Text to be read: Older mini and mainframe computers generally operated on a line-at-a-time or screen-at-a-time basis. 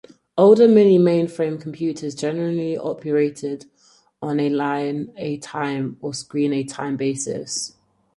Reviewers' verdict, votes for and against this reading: accepted, 4, 2